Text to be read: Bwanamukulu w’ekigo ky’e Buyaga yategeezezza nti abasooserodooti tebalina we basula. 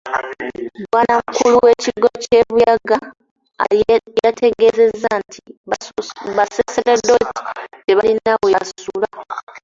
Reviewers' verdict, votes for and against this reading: rejected, 0, 2